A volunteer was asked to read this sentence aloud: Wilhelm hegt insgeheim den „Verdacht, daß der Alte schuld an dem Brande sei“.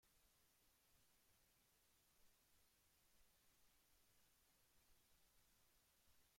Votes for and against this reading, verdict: 0, 2, rejected